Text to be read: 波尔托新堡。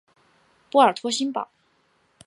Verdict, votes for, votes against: accepted, 4, 0